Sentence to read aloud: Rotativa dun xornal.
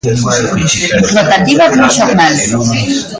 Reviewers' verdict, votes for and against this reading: rejected, 0, 2